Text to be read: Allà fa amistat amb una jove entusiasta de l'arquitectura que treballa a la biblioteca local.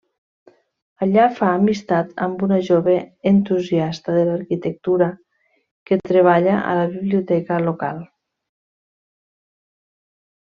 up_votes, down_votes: 3, 0